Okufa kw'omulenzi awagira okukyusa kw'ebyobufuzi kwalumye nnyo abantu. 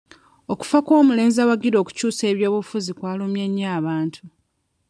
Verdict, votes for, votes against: rejected, 0, 2